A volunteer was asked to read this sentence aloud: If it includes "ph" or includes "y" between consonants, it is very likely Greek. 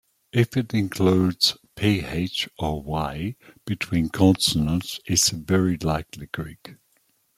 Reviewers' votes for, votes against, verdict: 1, 2, rejected